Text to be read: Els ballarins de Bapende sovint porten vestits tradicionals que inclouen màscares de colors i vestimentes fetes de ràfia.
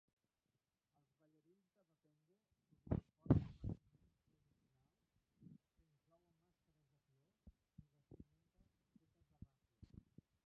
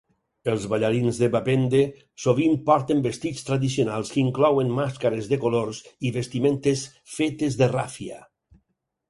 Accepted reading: second